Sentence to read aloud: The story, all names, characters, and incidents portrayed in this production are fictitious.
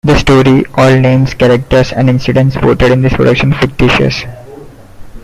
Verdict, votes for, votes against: rejected, 0, 2